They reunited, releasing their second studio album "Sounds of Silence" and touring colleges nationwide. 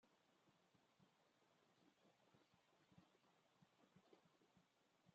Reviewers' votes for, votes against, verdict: 0, 2, rejected